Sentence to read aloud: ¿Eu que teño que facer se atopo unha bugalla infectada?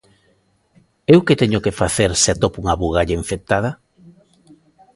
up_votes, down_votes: 2, 0